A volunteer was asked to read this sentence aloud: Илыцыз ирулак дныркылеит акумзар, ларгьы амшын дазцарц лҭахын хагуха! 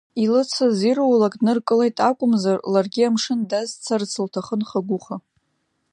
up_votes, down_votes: 2, 0